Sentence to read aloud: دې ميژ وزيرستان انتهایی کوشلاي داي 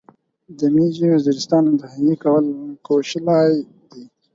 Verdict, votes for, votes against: rejected, 2, 4